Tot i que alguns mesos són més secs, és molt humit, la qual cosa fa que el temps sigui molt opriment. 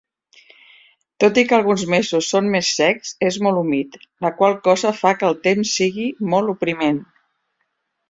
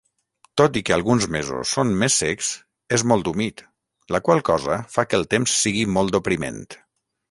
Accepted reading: first